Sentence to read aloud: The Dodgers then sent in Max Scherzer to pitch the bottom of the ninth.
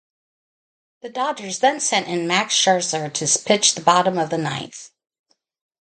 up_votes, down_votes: 0, 2